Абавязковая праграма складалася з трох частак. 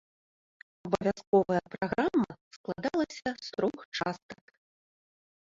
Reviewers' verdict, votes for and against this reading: rejected, 0, 2